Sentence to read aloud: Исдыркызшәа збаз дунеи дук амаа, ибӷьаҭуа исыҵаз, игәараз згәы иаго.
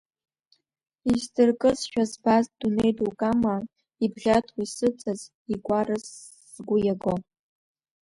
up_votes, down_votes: 2, 1